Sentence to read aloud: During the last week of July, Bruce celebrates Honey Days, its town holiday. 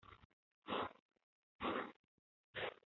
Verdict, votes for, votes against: rejected, 0, 2